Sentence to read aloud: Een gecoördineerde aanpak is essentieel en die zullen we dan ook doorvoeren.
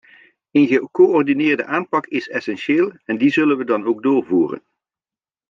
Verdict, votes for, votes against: accepted, 2, 0